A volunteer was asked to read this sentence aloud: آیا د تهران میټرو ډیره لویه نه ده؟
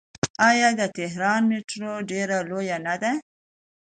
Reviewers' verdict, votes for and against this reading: accepted, 2, 0